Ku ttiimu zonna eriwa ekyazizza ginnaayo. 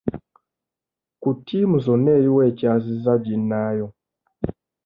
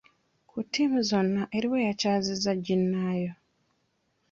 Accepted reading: first